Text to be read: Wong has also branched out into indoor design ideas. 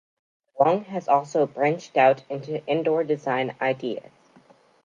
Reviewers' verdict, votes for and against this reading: rejected, 0, 2